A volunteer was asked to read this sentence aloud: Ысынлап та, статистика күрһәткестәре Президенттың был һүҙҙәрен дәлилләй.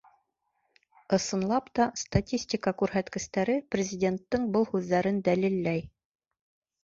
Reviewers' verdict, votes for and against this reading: accepted, 2, 0